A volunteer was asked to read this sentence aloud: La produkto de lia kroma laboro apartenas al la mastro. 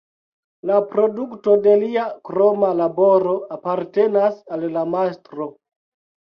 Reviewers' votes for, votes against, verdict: 2, 1, accepted